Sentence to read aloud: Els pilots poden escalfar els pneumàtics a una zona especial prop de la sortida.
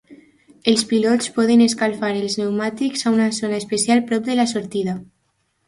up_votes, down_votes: 2, 0